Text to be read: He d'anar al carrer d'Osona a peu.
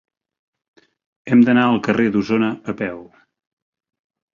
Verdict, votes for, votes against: rejected, 0, 3